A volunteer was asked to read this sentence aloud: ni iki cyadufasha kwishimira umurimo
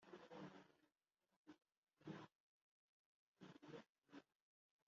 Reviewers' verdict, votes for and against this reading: rejected, 1, 2